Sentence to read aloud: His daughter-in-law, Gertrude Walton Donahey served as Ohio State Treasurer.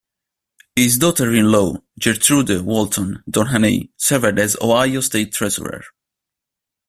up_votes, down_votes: 1, 2